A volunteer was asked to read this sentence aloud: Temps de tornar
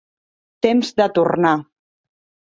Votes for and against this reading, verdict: 3, 0, accepted